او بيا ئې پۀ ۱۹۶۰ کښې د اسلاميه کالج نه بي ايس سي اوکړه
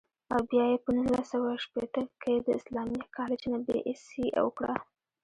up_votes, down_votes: 0, 2